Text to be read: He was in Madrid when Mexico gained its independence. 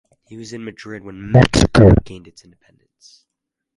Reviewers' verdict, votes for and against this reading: rejected, 2, 4